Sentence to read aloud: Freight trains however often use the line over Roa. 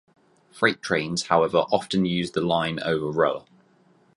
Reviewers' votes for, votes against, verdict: 4, 0, accepted